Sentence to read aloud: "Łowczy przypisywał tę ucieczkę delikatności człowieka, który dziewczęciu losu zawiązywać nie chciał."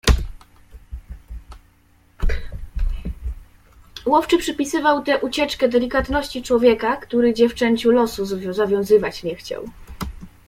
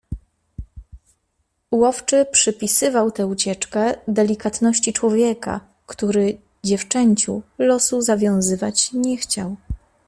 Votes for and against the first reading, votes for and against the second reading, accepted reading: 0, 2, 2, 0, second